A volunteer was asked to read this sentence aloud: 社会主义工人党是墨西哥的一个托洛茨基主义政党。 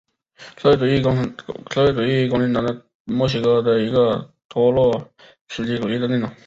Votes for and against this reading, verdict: 0, 3, rejected